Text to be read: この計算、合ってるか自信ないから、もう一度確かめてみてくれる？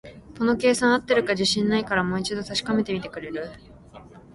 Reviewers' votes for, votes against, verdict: 2, 1, accepted